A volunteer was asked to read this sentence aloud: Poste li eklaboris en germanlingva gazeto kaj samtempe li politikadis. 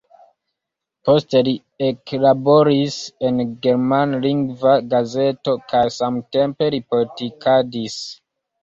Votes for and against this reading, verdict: 2, 1, accepted